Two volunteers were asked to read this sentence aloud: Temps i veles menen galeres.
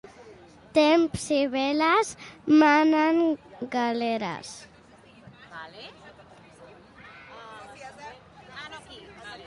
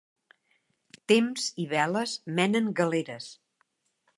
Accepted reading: second